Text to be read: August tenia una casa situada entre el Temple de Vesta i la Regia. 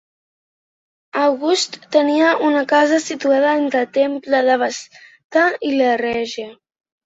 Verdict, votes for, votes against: rejected, 0, 2